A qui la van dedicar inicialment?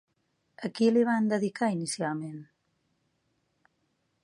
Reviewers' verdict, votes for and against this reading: rejected, 1, 2